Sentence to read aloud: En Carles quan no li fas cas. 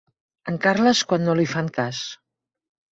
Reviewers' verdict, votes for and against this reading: rejected, 1, 2